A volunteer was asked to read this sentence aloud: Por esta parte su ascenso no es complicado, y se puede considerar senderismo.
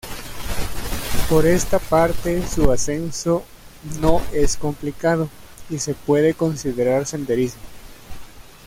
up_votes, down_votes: 2, 1